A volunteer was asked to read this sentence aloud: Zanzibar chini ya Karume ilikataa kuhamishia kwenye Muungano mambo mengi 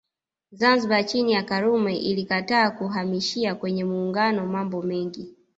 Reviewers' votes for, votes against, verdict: 1, 2, rejected